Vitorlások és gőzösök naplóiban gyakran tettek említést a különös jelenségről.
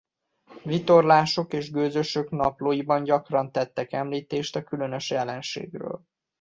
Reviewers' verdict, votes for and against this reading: accepted, 2, 0